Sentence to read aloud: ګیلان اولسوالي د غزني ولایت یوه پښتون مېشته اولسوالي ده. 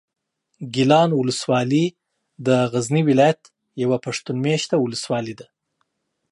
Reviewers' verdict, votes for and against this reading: accepted, 2, 0